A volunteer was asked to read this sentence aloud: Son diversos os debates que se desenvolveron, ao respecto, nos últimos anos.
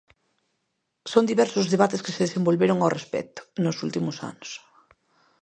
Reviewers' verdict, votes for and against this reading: rejected, 0, 2